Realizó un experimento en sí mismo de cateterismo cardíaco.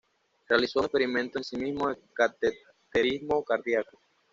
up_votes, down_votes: 1, 2